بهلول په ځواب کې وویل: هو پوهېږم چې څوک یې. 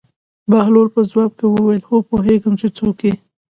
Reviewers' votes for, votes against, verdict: 2, 0, accepted